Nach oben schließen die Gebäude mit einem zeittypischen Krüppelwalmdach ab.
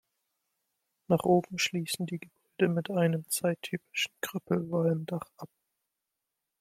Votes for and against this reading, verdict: 1, 2, rejected